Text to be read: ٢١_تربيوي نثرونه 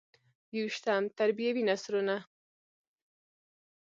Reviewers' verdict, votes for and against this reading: rejected, 0, 2